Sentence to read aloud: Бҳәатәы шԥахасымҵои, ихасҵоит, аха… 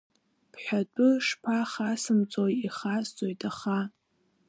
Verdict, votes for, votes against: accepted, 2, 0